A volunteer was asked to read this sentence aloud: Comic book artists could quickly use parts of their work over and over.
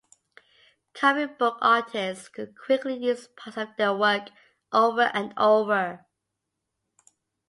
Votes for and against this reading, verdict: 2, 0, accepted